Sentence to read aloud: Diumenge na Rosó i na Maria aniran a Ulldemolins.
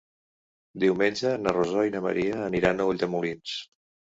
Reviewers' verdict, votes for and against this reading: accepted, 3, 0